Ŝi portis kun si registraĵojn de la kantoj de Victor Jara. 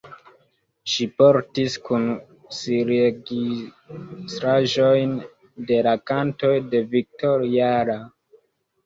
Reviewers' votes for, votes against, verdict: 0, 2, rejected